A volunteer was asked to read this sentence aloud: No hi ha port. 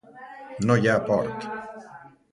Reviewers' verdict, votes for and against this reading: rejected, 1, 2